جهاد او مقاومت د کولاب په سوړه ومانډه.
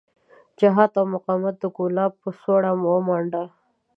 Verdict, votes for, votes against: accepted, 2, 0